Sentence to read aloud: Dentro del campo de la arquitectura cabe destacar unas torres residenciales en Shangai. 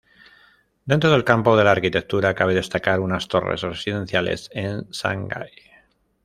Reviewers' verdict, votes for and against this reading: rejected, 1, 2